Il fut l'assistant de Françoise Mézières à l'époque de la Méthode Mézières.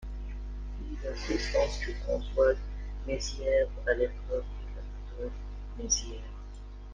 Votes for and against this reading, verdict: 0, 2, rejected